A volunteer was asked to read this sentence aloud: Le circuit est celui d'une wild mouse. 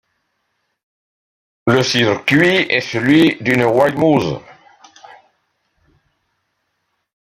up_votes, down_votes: 2, 0